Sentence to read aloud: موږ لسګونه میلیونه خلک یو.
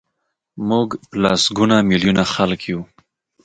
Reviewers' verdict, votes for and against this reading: accepted, 2, 0